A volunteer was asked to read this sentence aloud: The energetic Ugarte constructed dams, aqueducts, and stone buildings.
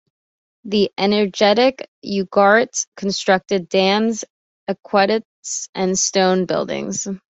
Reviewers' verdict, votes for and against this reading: rejected, 1, 2